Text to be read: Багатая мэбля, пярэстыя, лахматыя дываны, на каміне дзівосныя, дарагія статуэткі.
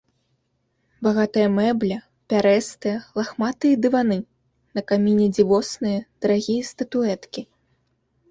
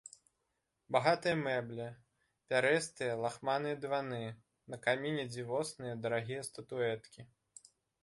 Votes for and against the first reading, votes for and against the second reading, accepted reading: 2, 0, 1, 2, first